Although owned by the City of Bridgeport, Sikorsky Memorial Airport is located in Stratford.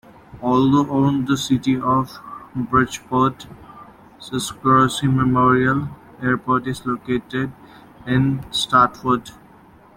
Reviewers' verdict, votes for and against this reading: rejected, 0, 2